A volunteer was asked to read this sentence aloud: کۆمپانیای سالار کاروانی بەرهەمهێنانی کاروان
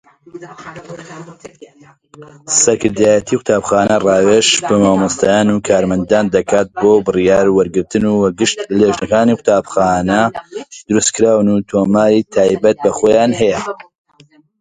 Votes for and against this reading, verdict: 0, 2, rejected